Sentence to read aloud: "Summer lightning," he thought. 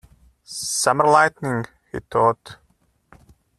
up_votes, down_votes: 0, 2